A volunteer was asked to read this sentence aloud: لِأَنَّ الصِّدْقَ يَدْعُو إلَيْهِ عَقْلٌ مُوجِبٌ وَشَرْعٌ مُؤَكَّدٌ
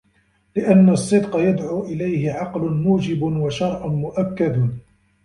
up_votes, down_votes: 2, 1